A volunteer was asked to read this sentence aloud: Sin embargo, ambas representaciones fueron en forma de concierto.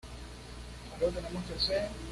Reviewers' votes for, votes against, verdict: 1, 2, rejected